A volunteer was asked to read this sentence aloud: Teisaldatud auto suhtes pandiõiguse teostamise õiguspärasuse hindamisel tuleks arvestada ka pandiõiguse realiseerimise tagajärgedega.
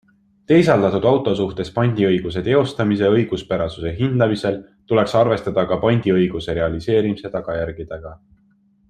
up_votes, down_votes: 2, 0